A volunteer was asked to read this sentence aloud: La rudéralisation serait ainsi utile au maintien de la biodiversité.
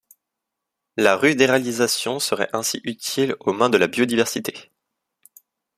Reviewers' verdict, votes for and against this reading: rejected, 1, 2